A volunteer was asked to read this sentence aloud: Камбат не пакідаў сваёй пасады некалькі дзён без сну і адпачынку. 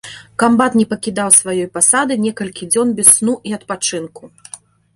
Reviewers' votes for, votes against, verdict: 2, 0, accepted